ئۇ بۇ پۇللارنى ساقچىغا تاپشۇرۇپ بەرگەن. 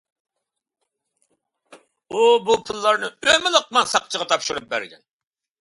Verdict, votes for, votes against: rejected, 0, 2